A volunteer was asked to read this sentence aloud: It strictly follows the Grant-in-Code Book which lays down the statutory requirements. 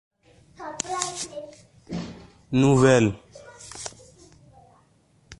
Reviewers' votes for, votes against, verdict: 0, 2, rejected